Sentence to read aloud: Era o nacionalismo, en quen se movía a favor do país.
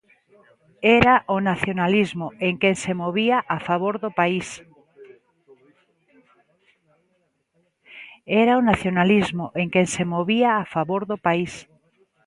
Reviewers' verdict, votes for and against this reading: rejected, 0, 2